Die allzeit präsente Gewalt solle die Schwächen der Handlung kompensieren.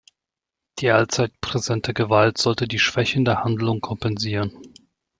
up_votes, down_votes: 0, 2